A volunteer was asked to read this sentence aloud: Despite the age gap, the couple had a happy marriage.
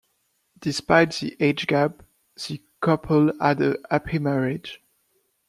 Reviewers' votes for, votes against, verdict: 2, 0, accepted